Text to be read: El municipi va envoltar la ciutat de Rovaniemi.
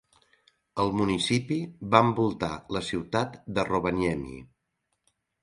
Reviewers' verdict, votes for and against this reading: accepted, 3, 0